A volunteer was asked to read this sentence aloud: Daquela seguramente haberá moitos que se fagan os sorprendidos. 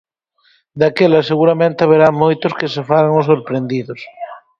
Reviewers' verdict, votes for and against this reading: accepted, 4, 0